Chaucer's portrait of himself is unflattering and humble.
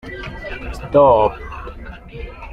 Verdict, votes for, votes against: rejected, 0, 2